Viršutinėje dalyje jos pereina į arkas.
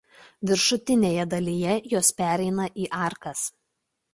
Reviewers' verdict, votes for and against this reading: accepted, 2, 0